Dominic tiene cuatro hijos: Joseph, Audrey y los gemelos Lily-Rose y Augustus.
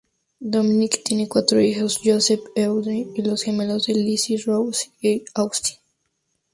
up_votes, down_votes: 2, 0